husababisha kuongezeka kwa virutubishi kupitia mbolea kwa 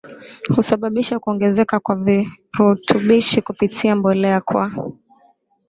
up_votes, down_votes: 5, 0